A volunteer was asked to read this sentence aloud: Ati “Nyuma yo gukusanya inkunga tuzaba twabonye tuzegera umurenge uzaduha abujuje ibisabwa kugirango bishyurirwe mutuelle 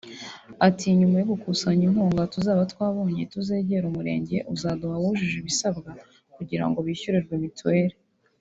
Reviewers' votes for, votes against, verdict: 0, 2, rejected